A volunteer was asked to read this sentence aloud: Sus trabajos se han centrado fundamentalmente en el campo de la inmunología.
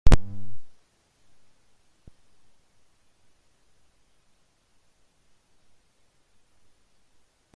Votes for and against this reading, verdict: 0, 2, rejected